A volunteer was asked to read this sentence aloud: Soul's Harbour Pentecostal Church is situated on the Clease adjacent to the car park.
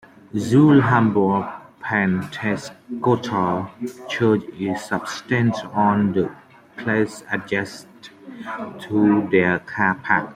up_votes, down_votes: 1, 2